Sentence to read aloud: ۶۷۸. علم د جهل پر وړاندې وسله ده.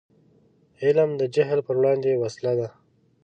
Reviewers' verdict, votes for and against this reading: rejected, 0, 2